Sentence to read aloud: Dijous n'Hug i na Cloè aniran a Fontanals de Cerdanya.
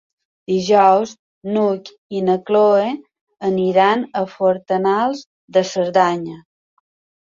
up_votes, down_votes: 1, 2